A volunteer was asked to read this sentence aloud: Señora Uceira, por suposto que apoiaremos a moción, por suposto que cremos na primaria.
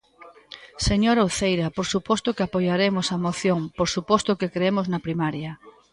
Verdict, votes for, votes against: accepted, 2, 0